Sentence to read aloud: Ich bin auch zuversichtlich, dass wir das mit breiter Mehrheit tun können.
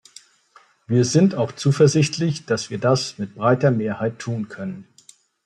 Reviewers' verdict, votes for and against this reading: rejected, 0, 2